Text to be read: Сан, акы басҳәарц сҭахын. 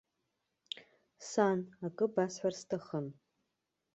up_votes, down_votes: 2, 0